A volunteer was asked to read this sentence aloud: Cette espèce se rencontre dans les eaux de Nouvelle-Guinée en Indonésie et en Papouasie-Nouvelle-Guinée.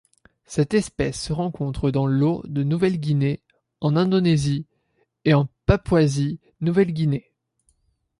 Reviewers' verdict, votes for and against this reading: rejected, 0, 2